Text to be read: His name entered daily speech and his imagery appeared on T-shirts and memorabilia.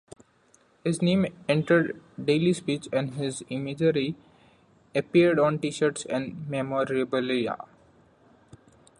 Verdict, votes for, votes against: rejected, 1, 2